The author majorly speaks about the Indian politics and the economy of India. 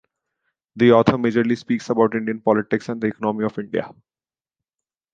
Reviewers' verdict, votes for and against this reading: rejected, 1, 2